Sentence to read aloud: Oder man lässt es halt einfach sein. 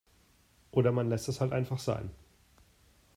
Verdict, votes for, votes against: accepted, 2, 0